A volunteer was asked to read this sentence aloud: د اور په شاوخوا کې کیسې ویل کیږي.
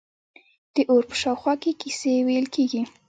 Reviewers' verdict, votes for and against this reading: rejected, 1, 2